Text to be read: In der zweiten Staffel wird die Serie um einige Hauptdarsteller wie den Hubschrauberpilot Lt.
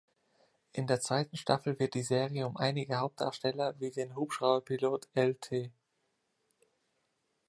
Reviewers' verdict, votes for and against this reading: rejected, 1, 2